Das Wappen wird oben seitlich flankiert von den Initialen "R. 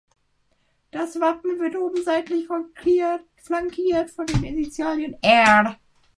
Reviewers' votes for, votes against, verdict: 0, 3, rejected